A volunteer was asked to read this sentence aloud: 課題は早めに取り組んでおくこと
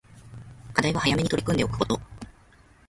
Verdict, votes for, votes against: rejected, 0, 2